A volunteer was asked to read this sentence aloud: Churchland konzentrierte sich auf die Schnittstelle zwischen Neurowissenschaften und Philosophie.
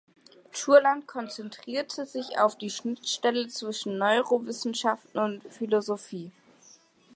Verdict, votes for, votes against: rejected, 0, 2